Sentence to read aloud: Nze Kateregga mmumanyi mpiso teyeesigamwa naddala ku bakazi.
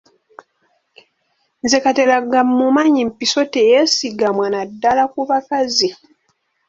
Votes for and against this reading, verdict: 0, 2, rejected